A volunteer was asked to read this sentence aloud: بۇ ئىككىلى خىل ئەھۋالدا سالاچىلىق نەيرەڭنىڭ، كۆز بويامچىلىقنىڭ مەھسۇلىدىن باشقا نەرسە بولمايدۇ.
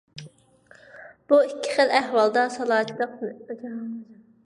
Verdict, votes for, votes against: rejected, 0, 3